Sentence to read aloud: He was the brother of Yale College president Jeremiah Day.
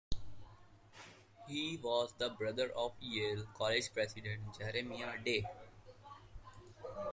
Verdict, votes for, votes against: rejected, 1, 3